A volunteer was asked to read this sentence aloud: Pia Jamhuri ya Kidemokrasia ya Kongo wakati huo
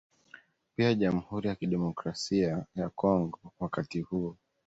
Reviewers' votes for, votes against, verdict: 2, 0, accepted